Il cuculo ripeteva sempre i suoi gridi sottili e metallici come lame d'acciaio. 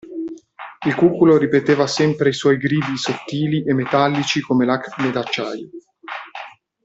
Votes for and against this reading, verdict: 0, 2, rejected